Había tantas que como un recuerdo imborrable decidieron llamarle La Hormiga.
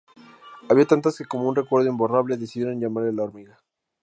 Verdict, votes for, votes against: accepted, 2, 0